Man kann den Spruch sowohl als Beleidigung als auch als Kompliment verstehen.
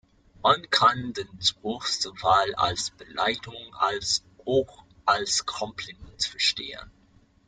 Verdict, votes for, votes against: rejected, 1, 2